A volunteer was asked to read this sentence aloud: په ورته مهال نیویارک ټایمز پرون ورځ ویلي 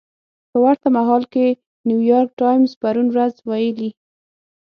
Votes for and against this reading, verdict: 3, 6, rejected